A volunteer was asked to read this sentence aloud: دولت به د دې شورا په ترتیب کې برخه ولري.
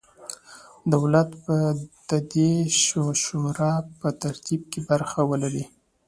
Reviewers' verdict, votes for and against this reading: accepted, 2, 0